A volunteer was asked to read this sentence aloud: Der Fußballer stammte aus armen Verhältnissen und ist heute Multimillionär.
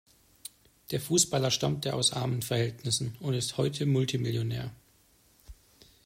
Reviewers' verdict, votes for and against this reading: accepted, 2, 0